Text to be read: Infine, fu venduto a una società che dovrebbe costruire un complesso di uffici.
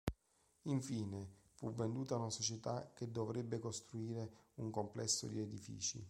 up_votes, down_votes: 0, 2